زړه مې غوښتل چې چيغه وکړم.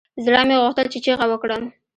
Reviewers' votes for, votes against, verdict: 2, 0, accepted